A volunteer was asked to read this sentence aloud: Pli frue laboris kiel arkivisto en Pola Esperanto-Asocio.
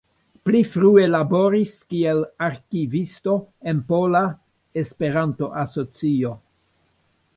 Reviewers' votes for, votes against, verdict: 2, 1, accepted